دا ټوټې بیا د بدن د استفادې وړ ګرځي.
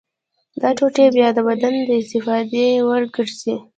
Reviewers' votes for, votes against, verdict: 0, 3, rejected